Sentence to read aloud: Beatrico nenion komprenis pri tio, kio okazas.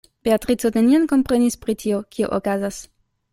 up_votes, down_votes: 2, 0